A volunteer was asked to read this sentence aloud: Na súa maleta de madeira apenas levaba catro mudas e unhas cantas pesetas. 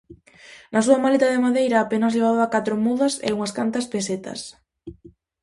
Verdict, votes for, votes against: accepted, 2, 0